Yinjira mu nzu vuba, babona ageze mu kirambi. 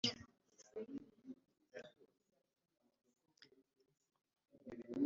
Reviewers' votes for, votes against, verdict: 0, 2, rejected